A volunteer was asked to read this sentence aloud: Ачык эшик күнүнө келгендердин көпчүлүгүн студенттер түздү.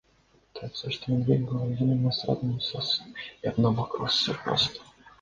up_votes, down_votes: 0, 2